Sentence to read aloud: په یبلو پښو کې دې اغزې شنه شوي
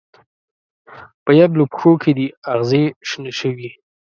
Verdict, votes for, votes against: accepted, 2, 0